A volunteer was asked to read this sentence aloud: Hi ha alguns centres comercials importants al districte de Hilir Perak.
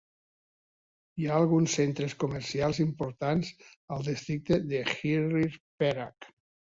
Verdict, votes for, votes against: accepted, 2, 0